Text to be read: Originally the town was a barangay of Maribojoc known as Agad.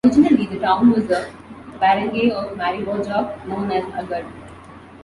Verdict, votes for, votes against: rejected, 0, 2